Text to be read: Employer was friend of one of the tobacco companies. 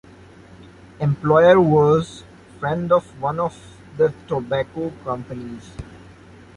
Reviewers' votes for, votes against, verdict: 2, 0, accepted